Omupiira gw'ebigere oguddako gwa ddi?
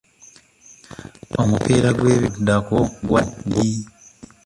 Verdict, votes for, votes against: rejected, 0, 2